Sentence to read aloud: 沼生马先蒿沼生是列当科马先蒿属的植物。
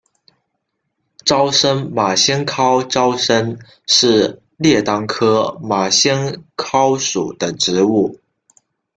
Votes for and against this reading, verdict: 0, 2, rejected